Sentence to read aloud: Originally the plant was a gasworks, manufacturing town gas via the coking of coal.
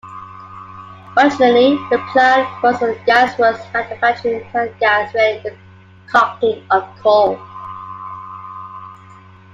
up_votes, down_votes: 2, 1